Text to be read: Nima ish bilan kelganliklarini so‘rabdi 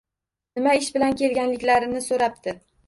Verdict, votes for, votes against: rejected, 1, 2